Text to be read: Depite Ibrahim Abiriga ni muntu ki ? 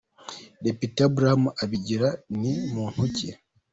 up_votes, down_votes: 0, 2